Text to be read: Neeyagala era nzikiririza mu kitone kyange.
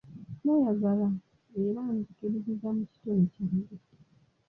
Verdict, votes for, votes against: rejected, 1, 2